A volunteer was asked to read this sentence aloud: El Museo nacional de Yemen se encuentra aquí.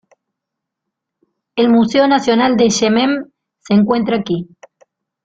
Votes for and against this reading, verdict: 1, 2, rejected